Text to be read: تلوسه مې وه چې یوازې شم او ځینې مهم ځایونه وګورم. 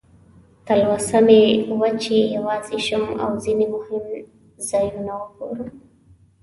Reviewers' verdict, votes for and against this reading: accepted, 2, 0